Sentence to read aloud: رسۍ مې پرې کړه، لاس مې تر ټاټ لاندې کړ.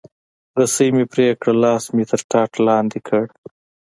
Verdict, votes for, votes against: accepted, 2, 1